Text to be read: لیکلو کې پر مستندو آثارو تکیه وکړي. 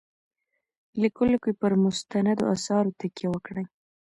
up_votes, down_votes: 0, 2